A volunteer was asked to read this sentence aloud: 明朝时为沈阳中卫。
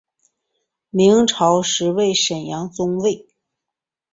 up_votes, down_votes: 2, 0